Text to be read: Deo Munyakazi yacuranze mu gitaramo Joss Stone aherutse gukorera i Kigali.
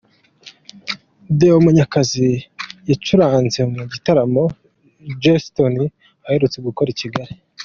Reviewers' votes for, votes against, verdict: 2, 0, accepted